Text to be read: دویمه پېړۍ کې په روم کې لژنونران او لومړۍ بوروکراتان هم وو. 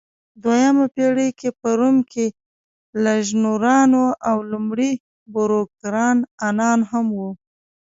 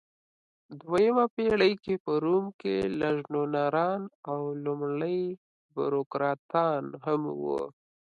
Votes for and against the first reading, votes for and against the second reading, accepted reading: 1, 2, 2, 0, second